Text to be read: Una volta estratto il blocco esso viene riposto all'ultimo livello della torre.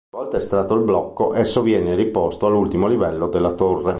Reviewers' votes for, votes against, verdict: 1, 3, rejected